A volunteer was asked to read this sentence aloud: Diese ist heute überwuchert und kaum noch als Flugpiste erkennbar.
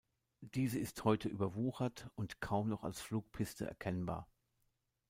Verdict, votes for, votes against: accepted, 2, 0